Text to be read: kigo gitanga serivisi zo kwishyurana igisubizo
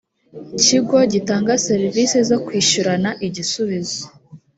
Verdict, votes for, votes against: accepted, 3, 0